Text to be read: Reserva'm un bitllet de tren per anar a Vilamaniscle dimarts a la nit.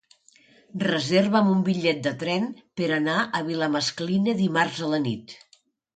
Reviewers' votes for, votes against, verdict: 0, 2, rejected